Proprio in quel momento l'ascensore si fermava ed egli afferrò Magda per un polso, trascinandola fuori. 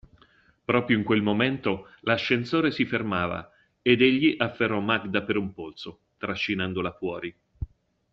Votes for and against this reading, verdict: 2, 0, accepted